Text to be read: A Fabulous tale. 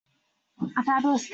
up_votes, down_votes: 0, 2